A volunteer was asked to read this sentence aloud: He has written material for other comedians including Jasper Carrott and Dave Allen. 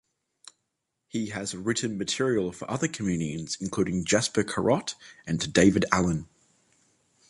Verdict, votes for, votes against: rejected, 1, 2